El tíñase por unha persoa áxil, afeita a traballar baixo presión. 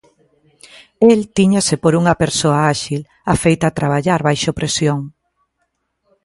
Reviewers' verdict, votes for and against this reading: accepted, 2, 0